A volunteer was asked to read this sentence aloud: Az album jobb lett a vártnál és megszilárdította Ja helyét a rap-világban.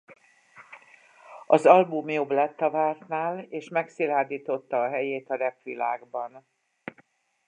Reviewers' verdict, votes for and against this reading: rejected, 0, 2